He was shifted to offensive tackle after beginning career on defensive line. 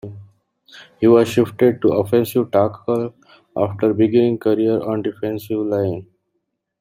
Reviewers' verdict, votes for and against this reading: rejected, 1, 2